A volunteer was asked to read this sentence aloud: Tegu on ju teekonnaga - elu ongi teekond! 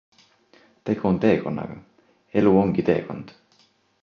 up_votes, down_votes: 0, 2